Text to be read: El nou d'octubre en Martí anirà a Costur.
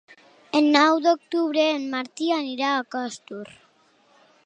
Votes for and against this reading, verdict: 3, 0, accepted